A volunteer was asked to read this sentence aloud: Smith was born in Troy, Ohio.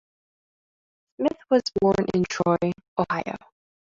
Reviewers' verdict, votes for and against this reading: rejected, 1, 2